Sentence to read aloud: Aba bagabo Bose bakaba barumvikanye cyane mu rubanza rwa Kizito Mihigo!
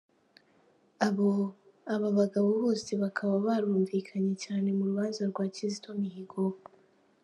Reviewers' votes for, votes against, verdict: 0, 2, rejected